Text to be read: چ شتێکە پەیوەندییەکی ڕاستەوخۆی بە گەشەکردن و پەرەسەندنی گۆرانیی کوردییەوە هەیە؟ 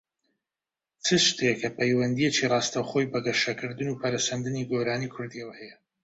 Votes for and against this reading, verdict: 2, 0, accepted